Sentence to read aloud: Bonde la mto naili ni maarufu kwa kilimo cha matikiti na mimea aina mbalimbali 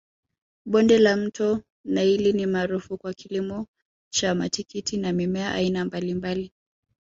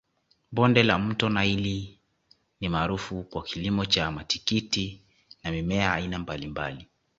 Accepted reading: second